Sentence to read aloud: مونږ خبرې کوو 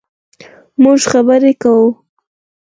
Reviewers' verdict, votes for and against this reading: accepted, 4, 2